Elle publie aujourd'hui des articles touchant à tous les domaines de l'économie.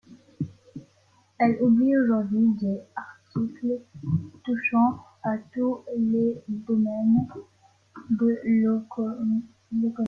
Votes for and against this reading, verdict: 0, 2, rejected